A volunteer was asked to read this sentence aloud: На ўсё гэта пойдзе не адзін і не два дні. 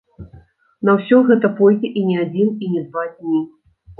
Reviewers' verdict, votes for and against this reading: rejected, 2, 3